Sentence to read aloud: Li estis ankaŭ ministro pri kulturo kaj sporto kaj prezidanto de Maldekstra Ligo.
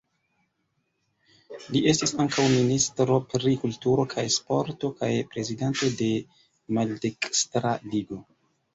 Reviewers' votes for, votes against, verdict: 2, 1, accepted